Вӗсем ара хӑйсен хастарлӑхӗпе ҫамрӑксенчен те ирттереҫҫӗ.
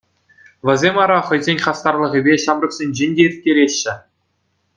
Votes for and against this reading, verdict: 2, 0, accepted